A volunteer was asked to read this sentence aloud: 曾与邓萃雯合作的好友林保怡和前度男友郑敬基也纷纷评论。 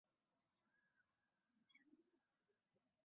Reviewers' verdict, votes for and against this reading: rejected, 0, 3